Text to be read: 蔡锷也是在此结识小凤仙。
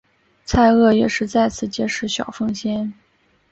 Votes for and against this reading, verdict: 4, 0, accepted